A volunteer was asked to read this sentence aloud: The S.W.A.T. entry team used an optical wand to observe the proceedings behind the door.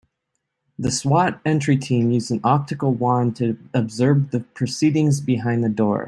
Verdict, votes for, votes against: accepted, 2, 0